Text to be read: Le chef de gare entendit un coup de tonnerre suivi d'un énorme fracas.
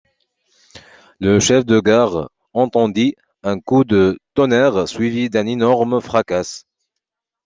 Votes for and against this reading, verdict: 2, 1, accepted